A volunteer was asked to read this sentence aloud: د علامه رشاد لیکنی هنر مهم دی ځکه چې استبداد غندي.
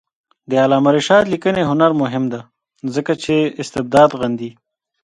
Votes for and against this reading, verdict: 3, 1, accepted